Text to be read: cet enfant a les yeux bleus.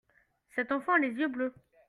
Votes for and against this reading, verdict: 2, 1, accepted